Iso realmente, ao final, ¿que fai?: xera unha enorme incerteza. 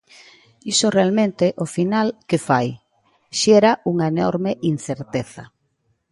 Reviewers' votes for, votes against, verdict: 2, 0, accepted